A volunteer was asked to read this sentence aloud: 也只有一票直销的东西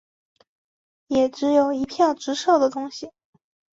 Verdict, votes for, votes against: rejected, 0, 2